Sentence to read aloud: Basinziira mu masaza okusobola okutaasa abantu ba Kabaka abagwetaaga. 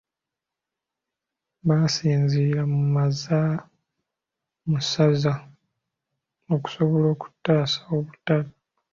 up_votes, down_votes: 0, 2